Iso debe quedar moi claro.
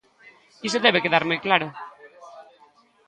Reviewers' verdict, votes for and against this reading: rejected, 1, 2